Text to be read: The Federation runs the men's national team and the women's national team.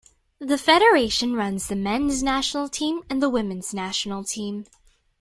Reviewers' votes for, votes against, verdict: 2, 0, accepted